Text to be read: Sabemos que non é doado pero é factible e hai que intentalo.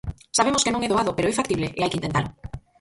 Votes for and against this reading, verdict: 2, 4, rejected